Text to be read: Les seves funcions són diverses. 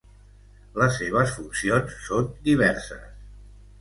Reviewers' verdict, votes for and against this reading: accepted, 2, 0